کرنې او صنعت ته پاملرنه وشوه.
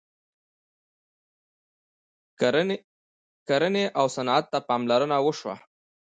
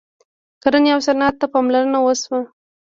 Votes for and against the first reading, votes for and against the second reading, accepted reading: 0, 2, 2, 0, second